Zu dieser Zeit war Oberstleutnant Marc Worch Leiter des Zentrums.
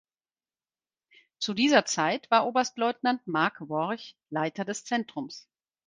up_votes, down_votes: 4, 0